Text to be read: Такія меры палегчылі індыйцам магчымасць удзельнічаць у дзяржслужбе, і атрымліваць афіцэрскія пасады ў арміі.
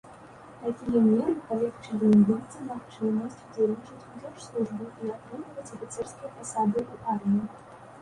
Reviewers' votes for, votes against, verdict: 0, 2, rejected